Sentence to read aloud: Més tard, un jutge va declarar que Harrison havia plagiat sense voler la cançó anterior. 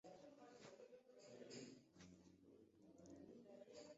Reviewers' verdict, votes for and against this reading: rejected, 0, 2